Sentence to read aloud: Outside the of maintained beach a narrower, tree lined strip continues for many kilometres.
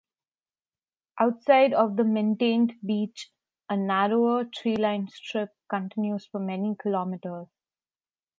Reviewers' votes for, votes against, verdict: 0, 2, rejected